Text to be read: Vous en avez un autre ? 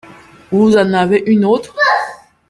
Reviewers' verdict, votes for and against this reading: rejected, 0, 2